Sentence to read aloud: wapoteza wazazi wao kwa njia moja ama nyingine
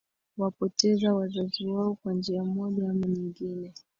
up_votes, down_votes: 4, 2